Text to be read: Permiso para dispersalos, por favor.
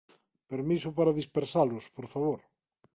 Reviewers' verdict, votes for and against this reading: accepted, 2, 1